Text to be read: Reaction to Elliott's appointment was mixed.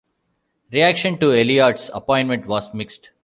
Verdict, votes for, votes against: accepted, 2, 0